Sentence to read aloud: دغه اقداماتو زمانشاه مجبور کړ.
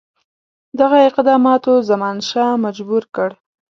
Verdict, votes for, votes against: accepted, 3, 0